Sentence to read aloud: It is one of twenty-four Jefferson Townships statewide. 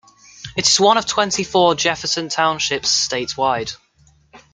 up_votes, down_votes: 2, 0